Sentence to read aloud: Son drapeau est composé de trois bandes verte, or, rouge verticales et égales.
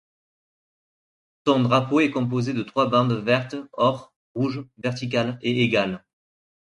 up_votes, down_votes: 1, 2